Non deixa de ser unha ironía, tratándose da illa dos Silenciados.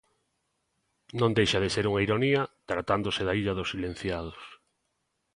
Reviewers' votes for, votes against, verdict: 2, 0, accepted